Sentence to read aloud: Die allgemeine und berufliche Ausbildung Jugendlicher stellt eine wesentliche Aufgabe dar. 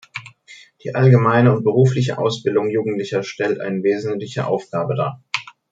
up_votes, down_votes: 2, 0